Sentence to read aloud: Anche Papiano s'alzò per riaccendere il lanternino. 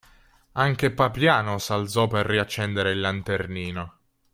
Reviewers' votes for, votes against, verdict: 3, 0, accepted